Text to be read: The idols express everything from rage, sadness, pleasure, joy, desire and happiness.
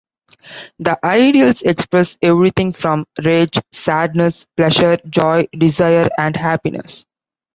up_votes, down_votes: 2, 0